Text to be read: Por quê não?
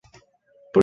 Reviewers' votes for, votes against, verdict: 0, 2, rejected